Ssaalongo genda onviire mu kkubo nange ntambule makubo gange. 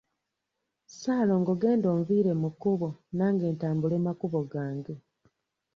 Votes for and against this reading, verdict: 2, 0, accepted